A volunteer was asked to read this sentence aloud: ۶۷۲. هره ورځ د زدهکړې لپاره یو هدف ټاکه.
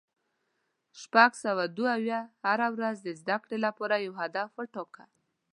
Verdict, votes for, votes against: rejected, 0, 2